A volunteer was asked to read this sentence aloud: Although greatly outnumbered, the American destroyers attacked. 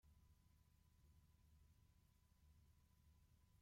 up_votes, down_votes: 0, 2